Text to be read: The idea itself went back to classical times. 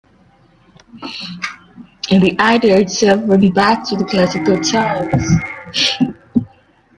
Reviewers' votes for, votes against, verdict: 0, 2, rejected